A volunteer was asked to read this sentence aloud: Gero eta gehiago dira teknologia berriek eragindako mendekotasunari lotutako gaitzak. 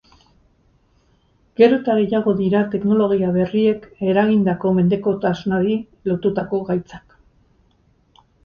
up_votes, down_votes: 2, 2